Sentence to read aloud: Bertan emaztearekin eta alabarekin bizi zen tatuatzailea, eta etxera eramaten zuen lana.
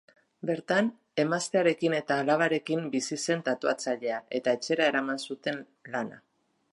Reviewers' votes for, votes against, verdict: 0, 3, rejected